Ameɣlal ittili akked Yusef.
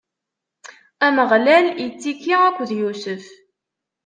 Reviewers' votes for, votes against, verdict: 1, 2, rejected